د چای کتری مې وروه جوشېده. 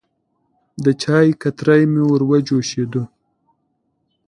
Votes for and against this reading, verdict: 3, 0, accepted